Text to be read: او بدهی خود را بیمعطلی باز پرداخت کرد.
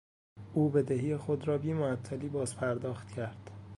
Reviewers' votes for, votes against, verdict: 2, 1, accepted